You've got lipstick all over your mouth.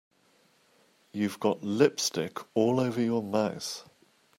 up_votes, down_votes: 2, 0